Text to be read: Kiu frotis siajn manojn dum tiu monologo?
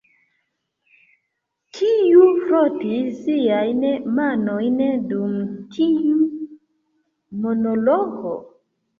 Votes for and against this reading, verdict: 2, 1, accepted